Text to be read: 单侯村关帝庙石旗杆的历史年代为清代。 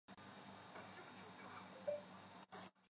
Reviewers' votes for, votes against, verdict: 0, 5, rejected